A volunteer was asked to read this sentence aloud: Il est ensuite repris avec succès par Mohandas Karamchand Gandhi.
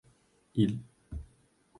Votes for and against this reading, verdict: 0, 2, rejected